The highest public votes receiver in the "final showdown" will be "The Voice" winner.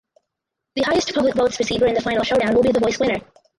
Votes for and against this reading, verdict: 2, 4, rejected